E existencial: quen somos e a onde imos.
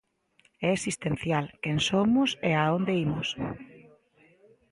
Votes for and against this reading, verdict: 2, 0, accepted